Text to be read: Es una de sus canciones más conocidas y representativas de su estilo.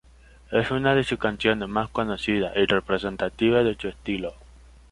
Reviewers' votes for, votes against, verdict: 0, 2, rejected